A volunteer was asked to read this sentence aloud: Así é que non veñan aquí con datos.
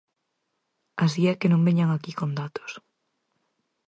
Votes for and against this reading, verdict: 4, 0, accepted